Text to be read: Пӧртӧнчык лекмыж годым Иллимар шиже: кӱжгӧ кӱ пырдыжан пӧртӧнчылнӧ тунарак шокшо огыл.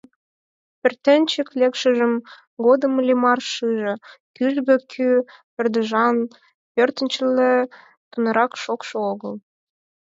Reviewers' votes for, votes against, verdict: 0, 4, rejected